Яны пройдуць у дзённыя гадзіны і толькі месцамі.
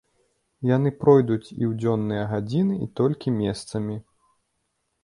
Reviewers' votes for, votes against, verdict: 1, 3, rejected